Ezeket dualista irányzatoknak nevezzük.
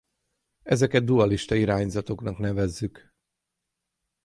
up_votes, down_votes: 6, 0